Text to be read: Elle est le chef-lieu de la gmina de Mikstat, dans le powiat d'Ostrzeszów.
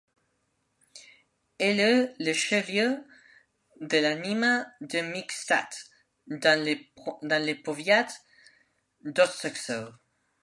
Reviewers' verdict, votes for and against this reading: rejected, 0, 2